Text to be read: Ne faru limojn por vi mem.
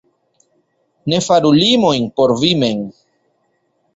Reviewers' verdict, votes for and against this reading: accepted, 2, 0